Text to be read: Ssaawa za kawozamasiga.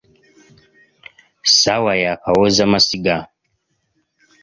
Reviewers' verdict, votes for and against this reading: rejected, 0, 2